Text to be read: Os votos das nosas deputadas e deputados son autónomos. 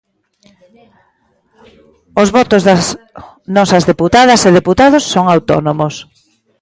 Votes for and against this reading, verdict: 1, 2, rejected